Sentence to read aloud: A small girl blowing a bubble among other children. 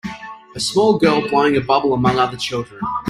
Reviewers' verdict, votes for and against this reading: accepted, 2, 1